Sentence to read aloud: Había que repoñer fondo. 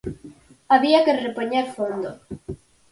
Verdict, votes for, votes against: accepted, 4, 0